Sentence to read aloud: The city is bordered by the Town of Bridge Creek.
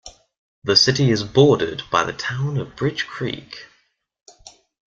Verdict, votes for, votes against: accepted, 2, 0